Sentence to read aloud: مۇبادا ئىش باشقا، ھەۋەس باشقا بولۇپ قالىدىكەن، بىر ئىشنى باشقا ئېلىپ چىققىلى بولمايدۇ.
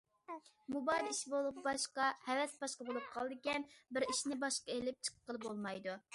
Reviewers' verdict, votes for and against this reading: rejected, 0, 2